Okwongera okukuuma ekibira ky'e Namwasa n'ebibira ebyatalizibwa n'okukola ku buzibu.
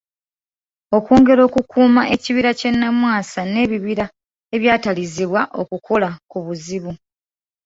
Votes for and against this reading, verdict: 0, 2, rejected